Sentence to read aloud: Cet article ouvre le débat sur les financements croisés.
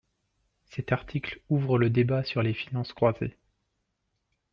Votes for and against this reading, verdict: 1, 2, rejected